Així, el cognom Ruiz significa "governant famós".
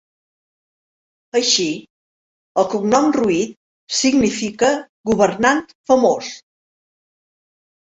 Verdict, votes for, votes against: accepted, 2, 0